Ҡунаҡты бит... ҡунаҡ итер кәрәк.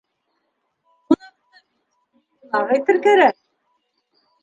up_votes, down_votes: 1, 2